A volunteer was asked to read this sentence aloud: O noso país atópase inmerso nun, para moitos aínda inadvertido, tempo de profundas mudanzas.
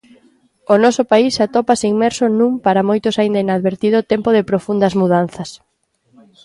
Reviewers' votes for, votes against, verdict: 2, 0, accepted